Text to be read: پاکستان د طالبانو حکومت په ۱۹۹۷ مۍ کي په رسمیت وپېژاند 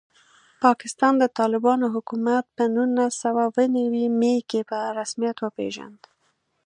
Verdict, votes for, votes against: rejected, 0, 2